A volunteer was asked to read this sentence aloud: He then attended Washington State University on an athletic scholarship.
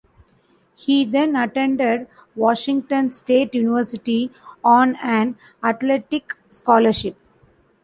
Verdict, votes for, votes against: accepted, 2, 0